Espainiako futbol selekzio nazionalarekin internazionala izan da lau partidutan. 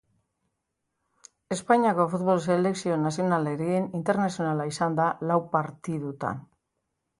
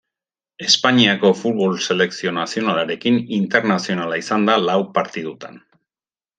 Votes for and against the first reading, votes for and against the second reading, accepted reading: 0, 3, 2, 0, second